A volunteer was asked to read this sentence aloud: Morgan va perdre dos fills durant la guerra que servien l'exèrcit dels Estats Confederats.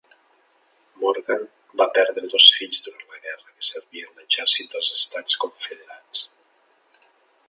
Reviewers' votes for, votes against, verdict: 1, 2, rejected